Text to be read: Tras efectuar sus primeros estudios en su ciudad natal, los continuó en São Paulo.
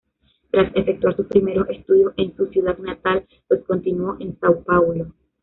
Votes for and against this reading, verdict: 1, 2, rejected